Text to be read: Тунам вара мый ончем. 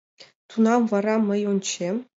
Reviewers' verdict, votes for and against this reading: accepted, 2, 0